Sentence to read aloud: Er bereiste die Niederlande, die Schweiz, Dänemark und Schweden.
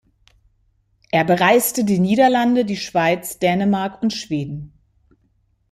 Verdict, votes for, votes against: accepted, 2, 0